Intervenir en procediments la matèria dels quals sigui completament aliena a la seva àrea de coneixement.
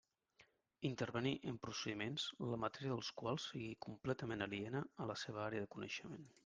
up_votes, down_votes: 3, 0